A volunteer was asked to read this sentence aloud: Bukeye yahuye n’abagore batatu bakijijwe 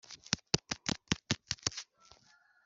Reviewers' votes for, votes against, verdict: 0, 2, rejected